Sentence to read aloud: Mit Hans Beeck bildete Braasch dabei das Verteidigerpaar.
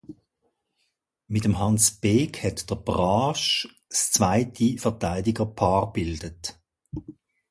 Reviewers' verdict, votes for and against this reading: rejected, 0, 2